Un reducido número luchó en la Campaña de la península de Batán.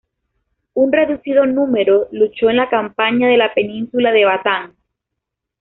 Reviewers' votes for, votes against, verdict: 2, 1, accepted